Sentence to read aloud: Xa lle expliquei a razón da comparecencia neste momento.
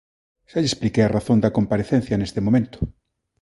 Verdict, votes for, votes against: accepted, 2, 0